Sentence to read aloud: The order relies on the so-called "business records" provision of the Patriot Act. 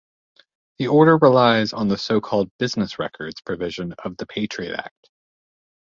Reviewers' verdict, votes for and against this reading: accepted, 2, 0